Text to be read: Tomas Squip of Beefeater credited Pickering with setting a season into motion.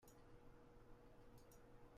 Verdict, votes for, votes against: rejected, 0, 2